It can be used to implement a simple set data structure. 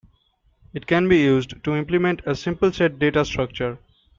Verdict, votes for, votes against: accepted, 2, 0